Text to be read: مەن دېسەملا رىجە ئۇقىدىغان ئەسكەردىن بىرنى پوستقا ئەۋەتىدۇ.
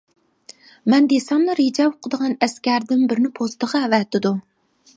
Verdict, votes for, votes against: rejected, 0, 2